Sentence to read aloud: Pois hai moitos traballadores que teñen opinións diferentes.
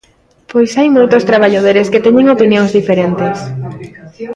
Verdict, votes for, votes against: rejected, 1, 2